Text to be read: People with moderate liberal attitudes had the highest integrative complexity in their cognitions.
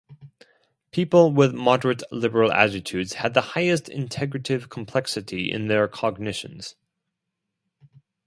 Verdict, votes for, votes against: accepted, 4, 0